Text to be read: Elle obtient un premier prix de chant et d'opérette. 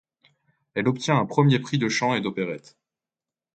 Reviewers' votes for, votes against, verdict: 2, 0, accepted